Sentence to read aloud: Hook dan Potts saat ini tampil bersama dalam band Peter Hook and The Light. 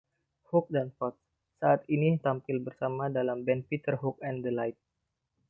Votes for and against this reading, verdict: 2, 0, accepted